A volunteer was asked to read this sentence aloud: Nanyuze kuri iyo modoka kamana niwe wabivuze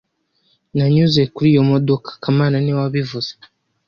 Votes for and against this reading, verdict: 2, 0, accepted